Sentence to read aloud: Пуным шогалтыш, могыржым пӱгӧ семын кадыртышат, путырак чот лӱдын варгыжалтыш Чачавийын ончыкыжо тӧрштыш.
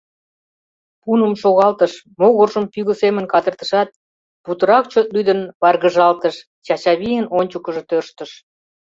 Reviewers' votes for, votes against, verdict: 2, 0, accepted